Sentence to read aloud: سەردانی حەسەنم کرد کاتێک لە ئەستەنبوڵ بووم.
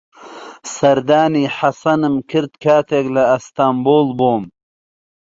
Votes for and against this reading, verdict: 2, 0, accepted